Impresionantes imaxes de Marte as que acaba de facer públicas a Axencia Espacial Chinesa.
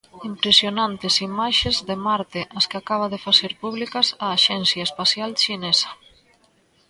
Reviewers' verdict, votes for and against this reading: accepted, 2, 0